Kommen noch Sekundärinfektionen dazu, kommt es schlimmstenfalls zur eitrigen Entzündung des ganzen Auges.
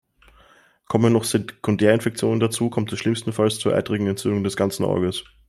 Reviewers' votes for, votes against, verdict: 2, 0, accepted